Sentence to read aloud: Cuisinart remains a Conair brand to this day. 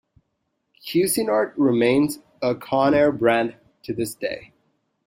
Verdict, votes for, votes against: accepted, 2, 0